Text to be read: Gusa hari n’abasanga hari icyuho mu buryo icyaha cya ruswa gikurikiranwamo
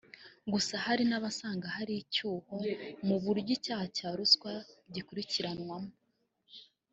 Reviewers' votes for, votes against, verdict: 0, 2, rejected